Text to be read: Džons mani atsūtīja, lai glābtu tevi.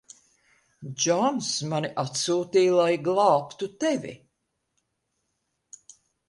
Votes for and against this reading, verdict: 2, 0, accepted